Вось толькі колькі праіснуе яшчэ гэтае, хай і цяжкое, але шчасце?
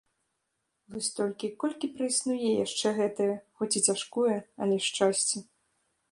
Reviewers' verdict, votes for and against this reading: rejected, 0, 2